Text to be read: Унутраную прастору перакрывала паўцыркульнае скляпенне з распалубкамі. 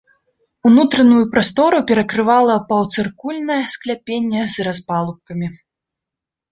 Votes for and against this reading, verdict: 0, 2, rejected